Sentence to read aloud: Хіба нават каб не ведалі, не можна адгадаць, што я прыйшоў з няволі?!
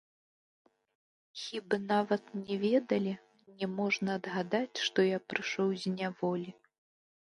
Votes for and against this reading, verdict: 1, 2, rejected